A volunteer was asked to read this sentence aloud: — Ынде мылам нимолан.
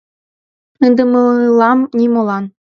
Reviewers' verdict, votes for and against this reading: accepted, 2, 0